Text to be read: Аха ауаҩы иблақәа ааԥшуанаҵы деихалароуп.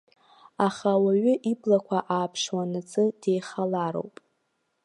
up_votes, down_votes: 2, 0